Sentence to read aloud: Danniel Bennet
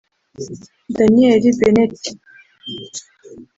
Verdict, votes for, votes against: rejected, 1, 2